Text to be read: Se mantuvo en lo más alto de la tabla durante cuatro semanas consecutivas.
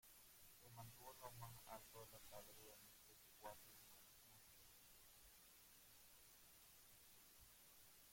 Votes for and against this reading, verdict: 0, 3, rejected